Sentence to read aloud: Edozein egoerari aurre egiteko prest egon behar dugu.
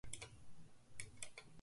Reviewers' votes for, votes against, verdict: 0, 2, rejected